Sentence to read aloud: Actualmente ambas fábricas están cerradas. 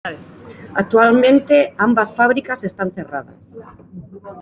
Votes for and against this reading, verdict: 2, 0, accepted